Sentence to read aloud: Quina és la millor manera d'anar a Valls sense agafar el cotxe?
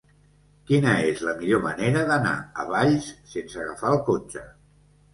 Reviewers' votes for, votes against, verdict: 1, 2, rejected